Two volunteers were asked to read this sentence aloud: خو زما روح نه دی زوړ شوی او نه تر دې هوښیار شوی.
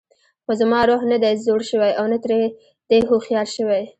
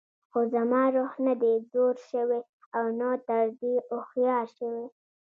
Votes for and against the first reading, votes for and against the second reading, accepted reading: 2, 0, 1, 2, first